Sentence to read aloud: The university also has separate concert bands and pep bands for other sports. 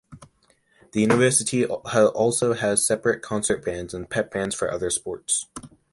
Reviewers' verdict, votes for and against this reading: rejected, 1, 2